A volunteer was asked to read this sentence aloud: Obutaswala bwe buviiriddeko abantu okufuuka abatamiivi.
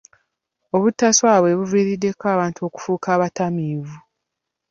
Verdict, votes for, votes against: accepted, 2, 0